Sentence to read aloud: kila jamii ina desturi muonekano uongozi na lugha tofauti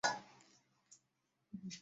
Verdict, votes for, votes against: rejected, 0, 2